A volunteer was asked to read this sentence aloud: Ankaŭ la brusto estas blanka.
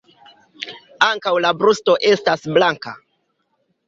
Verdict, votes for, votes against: rejected, 0, 2